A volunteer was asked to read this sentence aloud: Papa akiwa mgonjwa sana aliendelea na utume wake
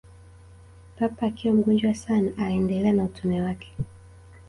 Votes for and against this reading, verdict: 0, 2, rejected